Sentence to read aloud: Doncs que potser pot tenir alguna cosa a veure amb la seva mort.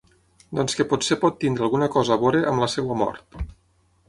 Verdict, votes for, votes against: accepted, 6, 0